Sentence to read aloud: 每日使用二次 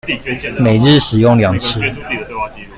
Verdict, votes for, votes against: accepted, 2, 1